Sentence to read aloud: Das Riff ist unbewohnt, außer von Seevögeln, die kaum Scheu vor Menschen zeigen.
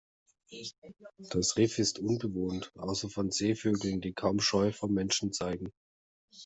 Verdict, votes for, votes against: accepted, 2, 0